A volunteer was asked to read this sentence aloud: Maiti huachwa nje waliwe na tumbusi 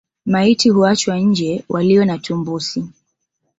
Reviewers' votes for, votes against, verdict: 2, 0, accepted